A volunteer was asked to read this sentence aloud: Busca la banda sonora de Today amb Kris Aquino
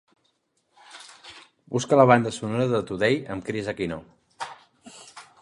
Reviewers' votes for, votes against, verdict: 2, 0, accepted